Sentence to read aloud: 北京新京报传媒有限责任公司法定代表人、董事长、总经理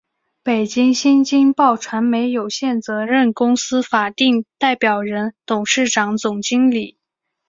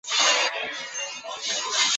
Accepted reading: first